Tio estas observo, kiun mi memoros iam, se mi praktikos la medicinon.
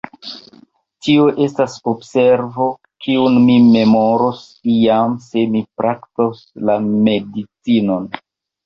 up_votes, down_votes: 1, 3